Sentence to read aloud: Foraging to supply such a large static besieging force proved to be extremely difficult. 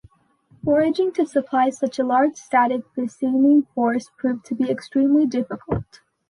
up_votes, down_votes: 2, 0